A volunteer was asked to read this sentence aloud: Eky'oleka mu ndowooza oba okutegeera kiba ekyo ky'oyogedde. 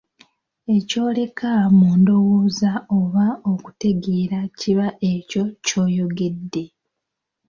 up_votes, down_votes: 2, 0